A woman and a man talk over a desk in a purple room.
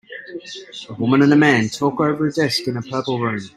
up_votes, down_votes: 1, 2